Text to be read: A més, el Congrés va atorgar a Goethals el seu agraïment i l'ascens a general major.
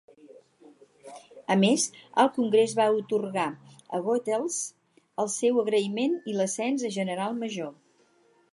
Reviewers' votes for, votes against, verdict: 0, 2, rejected